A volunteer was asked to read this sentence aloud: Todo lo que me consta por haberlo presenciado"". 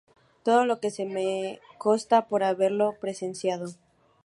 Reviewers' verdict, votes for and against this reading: rejected, 0, 2